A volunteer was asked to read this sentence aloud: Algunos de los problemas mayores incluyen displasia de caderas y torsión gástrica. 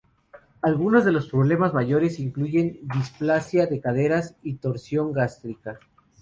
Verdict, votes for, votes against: rejected, 0, 2